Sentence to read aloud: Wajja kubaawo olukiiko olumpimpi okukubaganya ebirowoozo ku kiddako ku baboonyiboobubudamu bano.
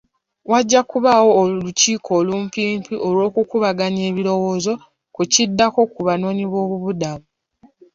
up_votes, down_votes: 1, 2